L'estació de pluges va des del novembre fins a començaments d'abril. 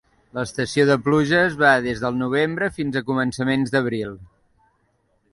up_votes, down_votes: 2, 0